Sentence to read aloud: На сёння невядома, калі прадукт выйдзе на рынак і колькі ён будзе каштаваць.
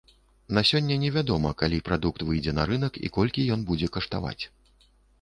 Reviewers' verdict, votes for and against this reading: accepted, 2, 0